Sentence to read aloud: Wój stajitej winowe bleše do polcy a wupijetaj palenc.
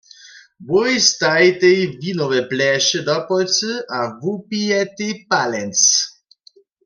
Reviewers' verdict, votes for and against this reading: rejected, 1, 2